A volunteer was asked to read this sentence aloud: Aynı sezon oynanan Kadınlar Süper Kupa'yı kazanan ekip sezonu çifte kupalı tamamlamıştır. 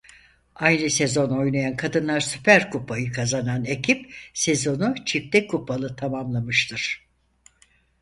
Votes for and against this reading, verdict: 2, 4, rejected